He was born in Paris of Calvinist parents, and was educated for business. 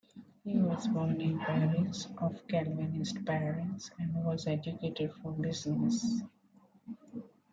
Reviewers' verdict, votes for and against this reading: rejected, 0, 2